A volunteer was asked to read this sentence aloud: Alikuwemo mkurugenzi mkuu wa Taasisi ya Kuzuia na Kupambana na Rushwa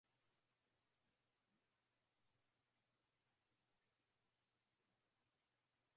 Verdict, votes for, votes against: rejected, 0, 3